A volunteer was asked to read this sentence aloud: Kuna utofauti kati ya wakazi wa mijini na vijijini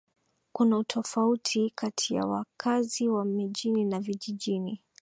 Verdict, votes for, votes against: accepted, 2, 1